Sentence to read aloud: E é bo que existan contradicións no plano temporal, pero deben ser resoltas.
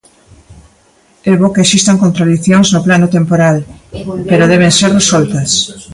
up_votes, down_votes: 0, 2